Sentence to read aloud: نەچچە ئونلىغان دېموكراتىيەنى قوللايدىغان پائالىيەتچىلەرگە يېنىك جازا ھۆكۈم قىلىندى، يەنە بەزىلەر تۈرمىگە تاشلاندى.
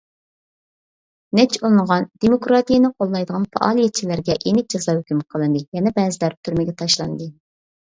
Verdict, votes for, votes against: accepted, 2, 0